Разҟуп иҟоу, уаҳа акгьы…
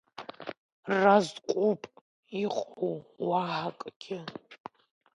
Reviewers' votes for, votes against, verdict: 1, 2, rejected